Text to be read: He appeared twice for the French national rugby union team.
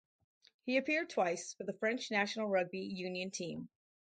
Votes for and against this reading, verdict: 4, 0, accepted